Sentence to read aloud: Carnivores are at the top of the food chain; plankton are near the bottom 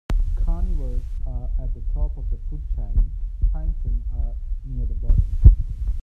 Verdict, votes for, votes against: rejected, 0, 2